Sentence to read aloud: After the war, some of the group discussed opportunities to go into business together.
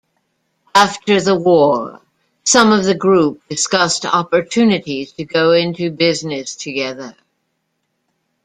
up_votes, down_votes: 2, 0